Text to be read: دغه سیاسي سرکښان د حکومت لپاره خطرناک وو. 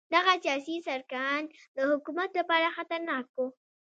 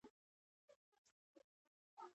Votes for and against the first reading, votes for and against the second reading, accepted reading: 2, 0, 0, 2, first